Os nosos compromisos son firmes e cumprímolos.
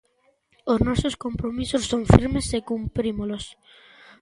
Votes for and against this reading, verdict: 2, 0, accepted